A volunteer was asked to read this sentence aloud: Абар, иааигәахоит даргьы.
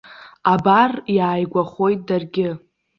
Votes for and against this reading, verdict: 2, 0, accepted